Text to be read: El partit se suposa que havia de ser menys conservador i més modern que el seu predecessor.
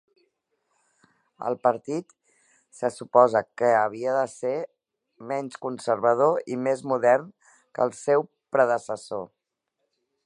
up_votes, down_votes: 3, 0